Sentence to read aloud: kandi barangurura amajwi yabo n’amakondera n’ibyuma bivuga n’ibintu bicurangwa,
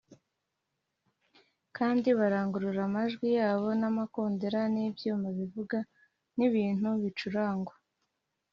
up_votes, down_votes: 2, 0